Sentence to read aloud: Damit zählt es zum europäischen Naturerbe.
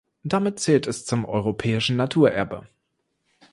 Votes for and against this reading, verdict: 2, 0, accepted